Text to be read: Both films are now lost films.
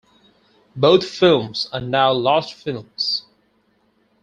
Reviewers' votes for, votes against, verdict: 4, 0, accepted